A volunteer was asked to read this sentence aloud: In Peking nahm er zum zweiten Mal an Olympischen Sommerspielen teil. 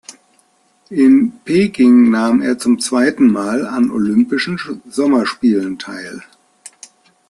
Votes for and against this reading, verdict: 1, 2, rejected